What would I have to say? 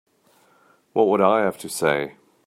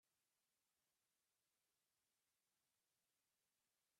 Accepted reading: first